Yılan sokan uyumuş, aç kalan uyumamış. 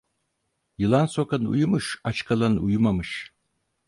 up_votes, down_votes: 4, 0